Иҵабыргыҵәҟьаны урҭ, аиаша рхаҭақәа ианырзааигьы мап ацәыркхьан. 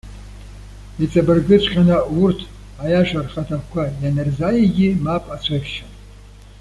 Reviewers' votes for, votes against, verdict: 1, 2, rejected